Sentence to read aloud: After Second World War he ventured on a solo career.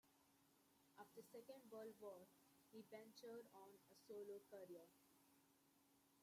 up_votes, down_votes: 0, 2